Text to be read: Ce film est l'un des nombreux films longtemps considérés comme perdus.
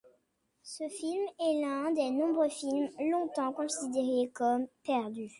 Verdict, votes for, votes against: accepted, 2, 0